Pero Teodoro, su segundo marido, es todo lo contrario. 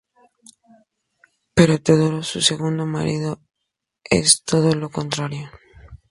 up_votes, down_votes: 2, 0